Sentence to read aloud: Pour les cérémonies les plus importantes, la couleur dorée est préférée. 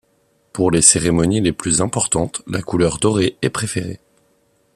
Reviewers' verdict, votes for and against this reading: accepted, 2, 0